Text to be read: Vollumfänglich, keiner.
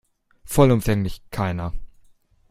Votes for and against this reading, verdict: 2, 0, accepted